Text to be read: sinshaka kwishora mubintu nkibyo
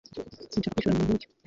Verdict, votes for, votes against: rejected, 0, 2